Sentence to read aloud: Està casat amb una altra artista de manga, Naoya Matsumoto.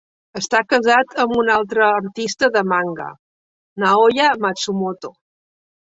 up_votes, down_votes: 0, 2